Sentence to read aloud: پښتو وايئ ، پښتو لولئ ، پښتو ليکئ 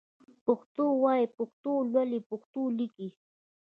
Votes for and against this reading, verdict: 2, 0, accepted